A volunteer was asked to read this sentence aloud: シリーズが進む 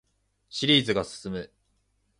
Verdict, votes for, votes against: accepted, 2, 0